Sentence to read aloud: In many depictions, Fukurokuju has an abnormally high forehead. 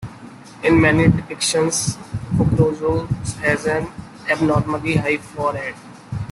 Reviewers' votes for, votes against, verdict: 0, 2, rejected